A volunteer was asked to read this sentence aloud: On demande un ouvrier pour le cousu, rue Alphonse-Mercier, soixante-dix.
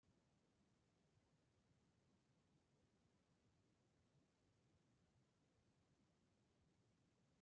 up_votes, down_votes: 0, 2